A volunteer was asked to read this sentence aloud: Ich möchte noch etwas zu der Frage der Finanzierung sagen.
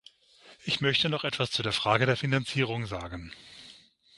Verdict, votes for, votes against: accepted, 6, 0